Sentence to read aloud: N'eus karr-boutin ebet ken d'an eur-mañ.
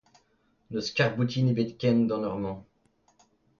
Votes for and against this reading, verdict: 1, 2, rejected